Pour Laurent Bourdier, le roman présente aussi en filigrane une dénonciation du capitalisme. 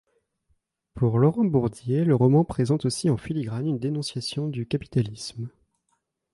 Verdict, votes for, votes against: accepted, 2, 0